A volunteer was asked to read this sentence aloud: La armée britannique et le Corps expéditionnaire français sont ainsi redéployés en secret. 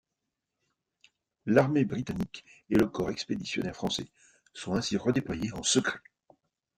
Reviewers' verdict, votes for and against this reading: rejected, 0, 2